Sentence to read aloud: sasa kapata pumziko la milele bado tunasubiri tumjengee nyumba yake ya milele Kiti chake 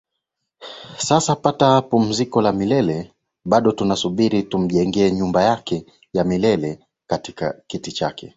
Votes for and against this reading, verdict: 7, 5, accepted